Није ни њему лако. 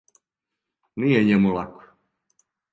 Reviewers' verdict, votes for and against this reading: rejected, 0, 2